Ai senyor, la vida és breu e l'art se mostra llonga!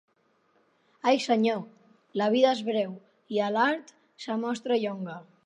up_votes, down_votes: 1, 3